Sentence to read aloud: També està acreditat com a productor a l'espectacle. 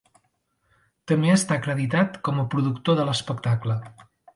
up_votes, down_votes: 0, 2